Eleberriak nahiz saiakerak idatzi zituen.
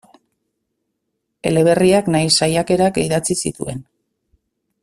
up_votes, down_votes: 2, 0